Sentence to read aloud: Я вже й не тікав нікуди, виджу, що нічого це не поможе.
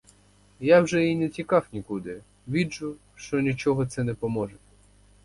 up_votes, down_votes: 2, 0